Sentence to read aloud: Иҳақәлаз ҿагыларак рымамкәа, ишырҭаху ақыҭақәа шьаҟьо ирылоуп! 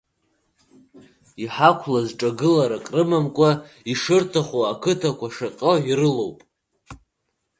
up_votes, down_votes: 2, 0